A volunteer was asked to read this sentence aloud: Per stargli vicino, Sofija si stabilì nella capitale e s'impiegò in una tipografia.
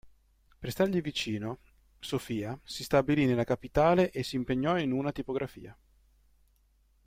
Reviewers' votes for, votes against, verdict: 0, 2, rejected